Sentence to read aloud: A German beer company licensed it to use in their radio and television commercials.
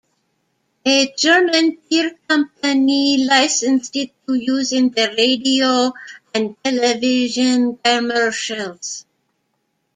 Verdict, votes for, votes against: rejected, 1, 2